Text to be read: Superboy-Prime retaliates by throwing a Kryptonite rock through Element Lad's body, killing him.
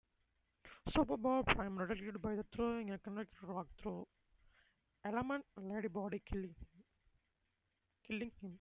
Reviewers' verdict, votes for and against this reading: rejected, 0, 2